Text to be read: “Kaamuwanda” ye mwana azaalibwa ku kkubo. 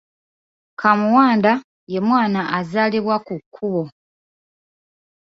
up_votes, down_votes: 2, 3